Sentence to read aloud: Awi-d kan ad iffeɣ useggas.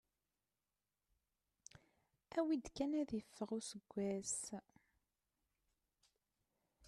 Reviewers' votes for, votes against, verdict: 1, 2, rejected